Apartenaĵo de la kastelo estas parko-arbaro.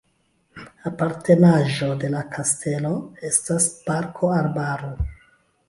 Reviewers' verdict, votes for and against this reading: rejected, 1, 2